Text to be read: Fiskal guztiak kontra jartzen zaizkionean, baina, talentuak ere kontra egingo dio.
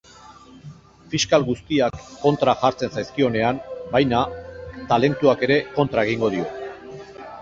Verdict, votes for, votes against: accepted, 2, 0